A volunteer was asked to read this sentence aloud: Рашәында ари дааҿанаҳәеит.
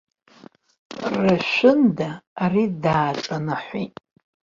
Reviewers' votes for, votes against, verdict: 2, 1, accepted